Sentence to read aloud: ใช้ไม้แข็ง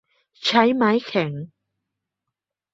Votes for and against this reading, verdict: 2, 0, accepted